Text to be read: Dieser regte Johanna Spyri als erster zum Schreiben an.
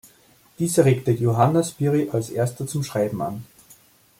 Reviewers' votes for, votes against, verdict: 2, 0, accepted